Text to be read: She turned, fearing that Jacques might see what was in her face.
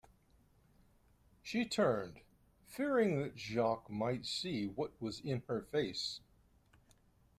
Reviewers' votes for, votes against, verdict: 2, 0, accepted